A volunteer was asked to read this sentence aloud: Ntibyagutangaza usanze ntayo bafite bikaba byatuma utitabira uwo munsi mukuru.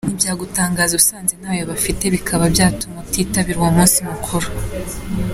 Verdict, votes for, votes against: accepted, 2, 0